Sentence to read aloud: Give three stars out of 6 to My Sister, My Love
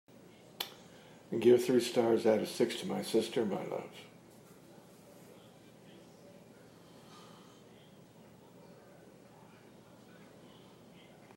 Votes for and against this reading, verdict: 0, 2, rejected